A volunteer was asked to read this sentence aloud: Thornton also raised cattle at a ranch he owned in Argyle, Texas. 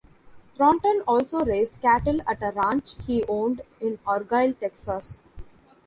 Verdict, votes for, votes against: rejected, 1, 2